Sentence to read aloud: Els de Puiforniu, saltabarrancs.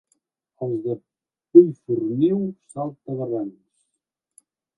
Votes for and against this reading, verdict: 1, 2, rejected